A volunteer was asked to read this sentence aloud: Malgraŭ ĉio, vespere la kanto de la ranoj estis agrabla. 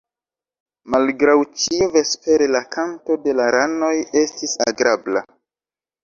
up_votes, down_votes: 1, 2